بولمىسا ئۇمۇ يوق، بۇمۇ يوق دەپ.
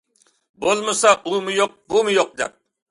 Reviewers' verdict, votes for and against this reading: accepted, 2, 0